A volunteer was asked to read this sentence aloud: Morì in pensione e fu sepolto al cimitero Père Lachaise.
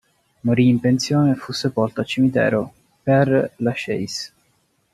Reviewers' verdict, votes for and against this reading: rejected, 0, 2